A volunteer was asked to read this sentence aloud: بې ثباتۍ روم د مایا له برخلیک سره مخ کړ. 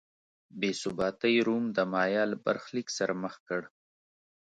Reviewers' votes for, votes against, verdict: 2, 0, accepted